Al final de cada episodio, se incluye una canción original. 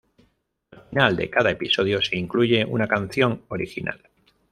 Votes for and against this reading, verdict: 1, 2, rejected